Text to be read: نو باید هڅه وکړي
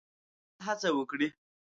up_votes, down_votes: 0, 7